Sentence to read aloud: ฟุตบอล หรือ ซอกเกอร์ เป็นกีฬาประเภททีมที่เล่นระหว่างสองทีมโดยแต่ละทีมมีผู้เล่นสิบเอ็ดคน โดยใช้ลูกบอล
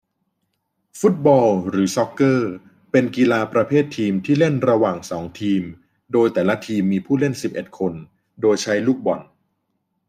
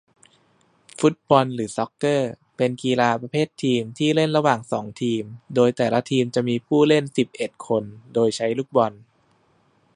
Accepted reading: first